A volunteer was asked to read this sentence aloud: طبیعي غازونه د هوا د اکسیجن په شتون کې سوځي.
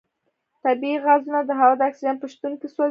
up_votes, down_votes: 1, 2